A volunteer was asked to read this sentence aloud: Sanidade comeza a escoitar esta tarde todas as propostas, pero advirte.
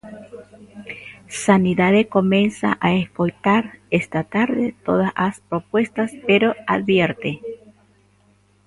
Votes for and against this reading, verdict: 0, 2, rejected